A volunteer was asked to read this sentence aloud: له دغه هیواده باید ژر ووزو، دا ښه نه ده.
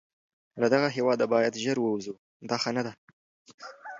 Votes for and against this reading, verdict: 2, 0, accepted